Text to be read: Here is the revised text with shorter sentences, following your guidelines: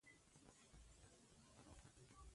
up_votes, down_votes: 0, 2